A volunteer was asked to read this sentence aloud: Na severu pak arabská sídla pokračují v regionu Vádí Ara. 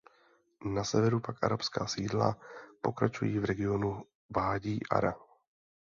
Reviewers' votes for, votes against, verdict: 2, 0, accepted